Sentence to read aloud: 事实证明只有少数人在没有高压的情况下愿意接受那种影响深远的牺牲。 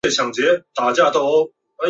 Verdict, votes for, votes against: rejected, 0, 2